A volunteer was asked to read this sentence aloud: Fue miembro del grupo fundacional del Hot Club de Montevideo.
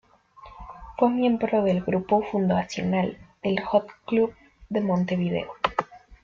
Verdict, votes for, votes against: rejected, 1, 2